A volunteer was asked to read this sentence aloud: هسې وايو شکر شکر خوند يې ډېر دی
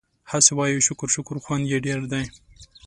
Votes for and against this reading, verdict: 2, 1, accepted